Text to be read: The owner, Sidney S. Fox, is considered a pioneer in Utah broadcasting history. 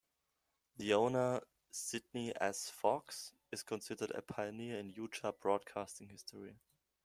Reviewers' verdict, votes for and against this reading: accepted, 2, 0